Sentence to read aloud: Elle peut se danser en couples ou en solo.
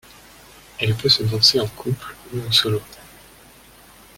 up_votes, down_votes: 1, 2